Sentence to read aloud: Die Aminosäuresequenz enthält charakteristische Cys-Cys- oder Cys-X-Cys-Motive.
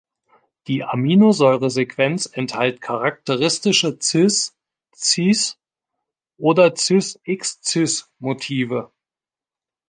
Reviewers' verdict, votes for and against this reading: rejected, 1, 2